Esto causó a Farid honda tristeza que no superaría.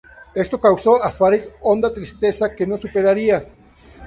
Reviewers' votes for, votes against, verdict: 0, 2, rejected